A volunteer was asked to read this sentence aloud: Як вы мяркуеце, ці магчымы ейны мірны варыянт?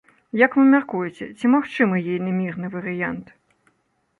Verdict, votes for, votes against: accepted, 3, 0